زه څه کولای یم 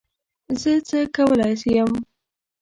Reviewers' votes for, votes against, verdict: 1, 2, rejected